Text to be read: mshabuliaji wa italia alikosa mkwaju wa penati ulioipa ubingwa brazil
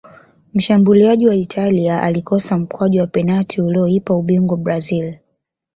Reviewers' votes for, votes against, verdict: 0, 2, rejected